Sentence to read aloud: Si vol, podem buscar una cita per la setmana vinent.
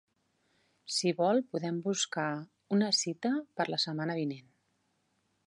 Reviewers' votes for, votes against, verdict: 3, 1, accepted